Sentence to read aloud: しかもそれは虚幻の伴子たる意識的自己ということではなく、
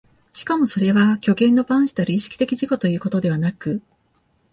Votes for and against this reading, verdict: 2, 0, accepted